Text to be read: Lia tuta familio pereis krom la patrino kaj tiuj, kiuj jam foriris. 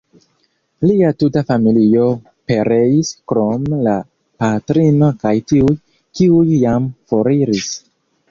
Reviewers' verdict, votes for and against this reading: accepted, 2, 0